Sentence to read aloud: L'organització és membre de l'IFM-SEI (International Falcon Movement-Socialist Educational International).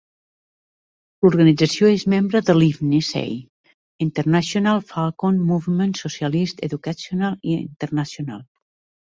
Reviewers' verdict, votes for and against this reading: rejected, 1, 2